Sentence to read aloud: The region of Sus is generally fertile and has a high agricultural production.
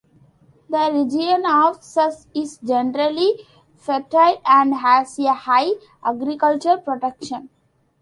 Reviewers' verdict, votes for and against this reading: rejected, 1, 2